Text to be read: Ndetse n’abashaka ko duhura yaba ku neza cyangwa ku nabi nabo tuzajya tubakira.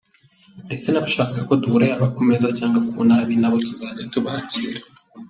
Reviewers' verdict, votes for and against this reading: accepted, 3, 0